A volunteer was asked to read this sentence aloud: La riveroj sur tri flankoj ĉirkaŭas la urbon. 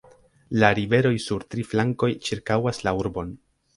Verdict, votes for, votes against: rejected, 1, 2